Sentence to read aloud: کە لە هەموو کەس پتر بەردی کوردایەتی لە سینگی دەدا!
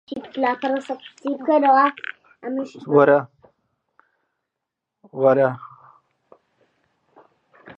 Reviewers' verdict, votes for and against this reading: rejected, 0, 2